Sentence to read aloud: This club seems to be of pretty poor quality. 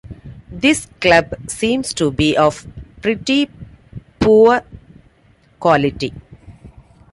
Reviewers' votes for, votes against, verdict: 2, 0, accepted